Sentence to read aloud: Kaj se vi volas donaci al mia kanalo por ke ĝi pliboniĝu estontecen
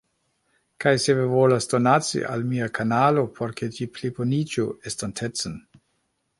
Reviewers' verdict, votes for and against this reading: rejected, 1, 2